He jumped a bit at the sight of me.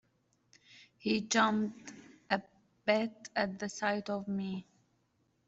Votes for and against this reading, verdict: 1, 2, rejected